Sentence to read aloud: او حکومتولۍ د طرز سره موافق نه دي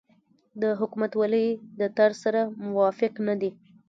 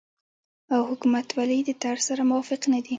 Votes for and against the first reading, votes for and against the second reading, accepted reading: 2, 0, 0, 2, first